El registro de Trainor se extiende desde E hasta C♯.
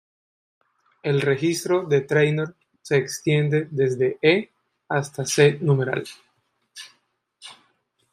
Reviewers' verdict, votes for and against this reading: rejected, 1, 2